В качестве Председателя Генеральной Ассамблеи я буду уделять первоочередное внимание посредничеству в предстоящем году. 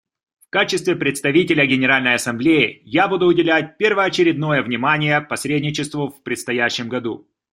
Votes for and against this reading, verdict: 2, 1, accepted